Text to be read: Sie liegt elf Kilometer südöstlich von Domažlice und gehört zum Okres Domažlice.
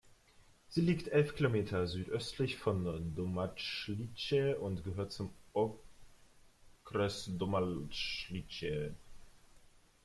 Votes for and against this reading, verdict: 0, 2, rejected